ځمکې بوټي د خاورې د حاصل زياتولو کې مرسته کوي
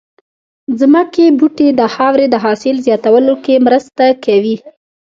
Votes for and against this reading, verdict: 2, 0, accepted